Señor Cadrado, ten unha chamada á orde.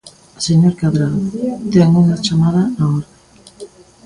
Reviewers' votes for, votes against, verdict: 3, 0, accepted